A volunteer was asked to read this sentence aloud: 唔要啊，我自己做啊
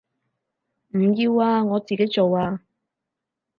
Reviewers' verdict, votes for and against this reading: accepted, 4, 0